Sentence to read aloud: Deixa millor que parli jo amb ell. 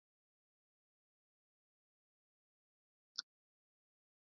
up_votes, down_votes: 0, 2